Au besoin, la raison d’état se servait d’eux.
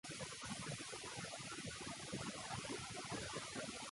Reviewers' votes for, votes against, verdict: 0, 2, rejected